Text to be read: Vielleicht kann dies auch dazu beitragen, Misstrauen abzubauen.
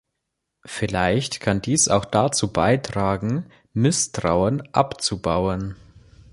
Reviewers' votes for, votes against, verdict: 3, 0, accepted